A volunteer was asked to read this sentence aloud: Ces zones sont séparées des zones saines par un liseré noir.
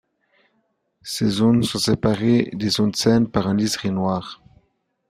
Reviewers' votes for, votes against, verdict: 2, 1, accepted